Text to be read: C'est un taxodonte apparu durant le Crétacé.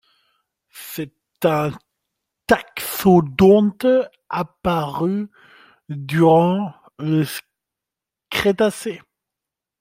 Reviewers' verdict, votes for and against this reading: rejected, 0, 2